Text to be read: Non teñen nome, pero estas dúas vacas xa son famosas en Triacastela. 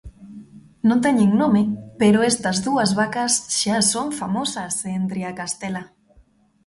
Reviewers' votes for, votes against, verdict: 2, 0, accepted